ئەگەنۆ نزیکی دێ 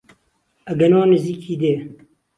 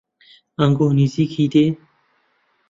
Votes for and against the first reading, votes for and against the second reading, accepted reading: 2, 0, 0, 2, first